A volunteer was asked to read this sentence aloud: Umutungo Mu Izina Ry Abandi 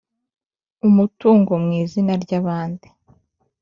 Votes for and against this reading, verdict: 3, 0, accepted